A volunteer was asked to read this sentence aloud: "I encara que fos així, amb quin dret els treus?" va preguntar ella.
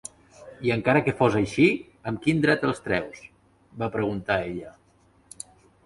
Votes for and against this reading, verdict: 3, 0, accepted